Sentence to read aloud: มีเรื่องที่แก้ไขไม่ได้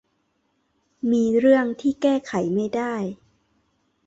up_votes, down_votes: 2, 0